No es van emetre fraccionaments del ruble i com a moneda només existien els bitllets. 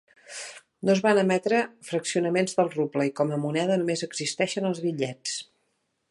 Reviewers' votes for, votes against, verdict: 0, 3, rejected